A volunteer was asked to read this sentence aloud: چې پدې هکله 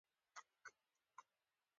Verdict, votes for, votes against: rejected, 0, 2